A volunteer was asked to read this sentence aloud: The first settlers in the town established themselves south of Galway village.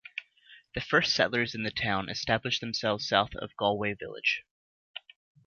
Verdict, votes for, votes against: accepted, 2, 0